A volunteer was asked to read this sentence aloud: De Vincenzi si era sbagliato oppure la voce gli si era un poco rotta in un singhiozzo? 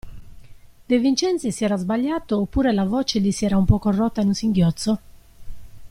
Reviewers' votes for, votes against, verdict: 2, 0, accepted